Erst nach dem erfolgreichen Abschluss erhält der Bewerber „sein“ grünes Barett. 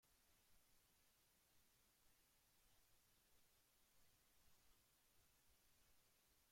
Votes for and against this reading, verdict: 0, 2, rejected